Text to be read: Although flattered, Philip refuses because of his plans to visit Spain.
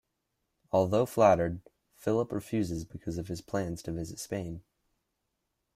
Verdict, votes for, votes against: accepted, 2, 0